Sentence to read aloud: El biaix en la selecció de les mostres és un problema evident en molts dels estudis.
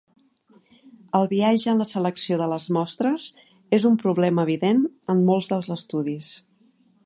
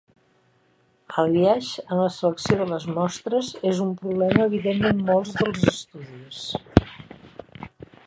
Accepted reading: first